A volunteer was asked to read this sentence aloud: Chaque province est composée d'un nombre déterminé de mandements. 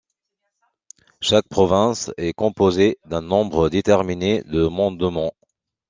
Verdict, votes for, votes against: accepted, 2, 0